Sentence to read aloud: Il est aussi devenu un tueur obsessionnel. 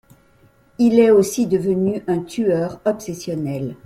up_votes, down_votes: 2, 0